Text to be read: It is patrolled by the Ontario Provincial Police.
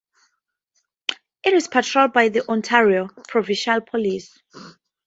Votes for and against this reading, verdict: 2, 0, accepted